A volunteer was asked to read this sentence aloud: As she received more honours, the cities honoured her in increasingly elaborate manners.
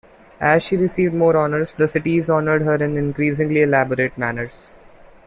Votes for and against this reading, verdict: 3, 0, accepted